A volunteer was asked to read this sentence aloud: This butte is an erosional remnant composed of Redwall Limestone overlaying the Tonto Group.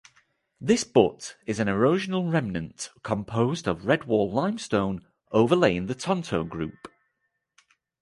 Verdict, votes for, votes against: accepted, 2, 0